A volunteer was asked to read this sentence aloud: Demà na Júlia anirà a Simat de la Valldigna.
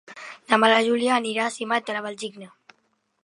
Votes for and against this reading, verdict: 1, 2, rejected